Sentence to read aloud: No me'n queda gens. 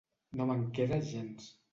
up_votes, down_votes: 2, 0